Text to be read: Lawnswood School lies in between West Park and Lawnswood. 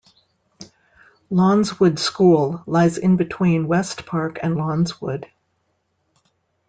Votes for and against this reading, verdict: 2, 0, accepted